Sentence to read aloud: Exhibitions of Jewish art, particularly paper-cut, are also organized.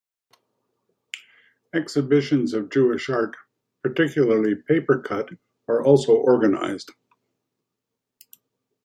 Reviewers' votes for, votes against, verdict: 2, 0, accepted